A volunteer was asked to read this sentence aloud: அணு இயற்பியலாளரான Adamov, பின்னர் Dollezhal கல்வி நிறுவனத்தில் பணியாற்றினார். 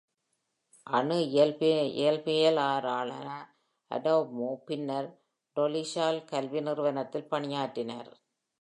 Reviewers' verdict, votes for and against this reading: rejected, 1, 2